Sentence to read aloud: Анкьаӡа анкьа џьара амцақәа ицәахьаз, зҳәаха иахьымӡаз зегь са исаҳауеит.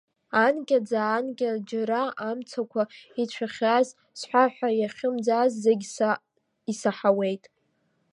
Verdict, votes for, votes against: rejected, 0, 2